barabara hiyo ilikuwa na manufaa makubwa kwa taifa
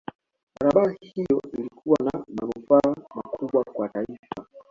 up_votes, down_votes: 3, 1